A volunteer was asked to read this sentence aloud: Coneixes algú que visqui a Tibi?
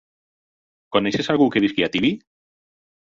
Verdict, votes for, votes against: rejected, 0, 4